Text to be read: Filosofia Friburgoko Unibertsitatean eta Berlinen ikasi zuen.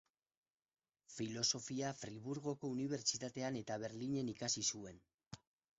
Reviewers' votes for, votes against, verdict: 4, 2, accepted